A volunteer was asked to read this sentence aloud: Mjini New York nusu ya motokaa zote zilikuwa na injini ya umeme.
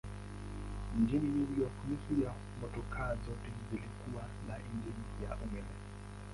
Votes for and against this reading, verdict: 0, 2, rejected